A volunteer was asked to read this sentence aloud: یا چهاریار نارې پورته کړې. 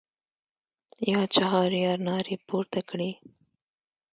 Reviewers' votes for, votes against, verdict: 1, 2, rejected